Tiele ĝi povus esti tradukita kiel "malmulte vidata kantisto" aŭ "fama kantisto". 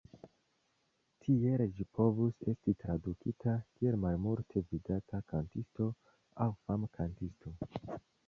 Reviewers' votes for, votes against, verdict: 1, 2, rejected